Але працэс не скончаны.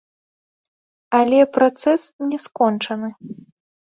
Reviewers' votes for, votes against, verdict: 2, 1, accepted